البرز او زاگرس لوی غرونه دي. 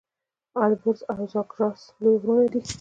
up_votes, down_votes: 1, 2